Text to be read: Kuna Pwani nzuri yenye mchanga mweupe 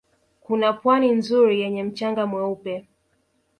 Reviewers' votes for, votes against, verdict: 4, 1, accepted